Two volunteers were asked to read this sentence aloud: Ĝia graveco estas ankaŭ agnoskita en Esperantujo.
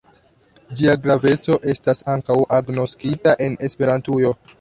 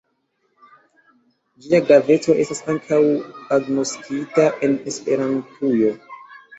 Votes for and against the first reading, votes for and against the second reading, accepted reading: 2, 0, 1, 2, first